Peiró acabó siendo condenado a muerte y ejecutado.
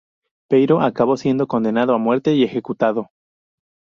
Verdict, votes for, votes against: accepted, 2, 0